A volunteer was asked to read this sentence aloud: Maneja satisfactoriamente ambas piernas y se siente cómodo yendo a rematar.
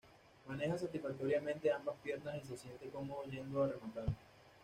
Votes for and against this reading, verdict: 2, 0, accepted